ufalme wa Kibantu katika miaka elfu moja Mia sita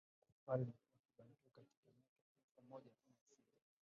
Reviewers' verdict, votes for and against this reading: rejected, 0, 2